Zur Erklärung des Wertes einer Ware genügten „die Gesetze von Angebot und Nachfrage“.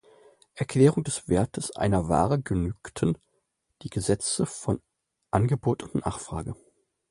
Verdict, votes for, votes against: rejected, 0, 2